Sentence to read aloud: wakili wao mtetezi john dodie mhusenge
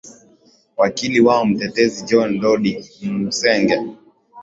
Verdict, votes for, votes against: accepted, 3, 0